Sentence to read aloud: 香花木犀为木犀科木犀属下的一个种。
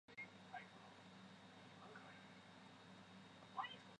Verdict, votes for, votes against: rejected, 1, 2